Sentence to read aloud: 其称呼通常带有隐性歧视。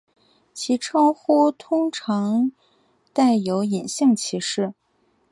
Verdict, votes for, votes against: accepted, 4, 0